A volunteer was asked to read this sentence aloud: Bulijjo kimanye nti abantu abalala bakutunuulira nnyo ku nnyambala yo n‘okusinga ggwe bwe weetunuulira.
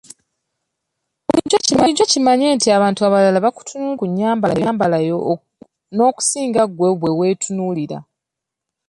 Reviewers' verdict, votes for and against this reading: rejected, 0, 2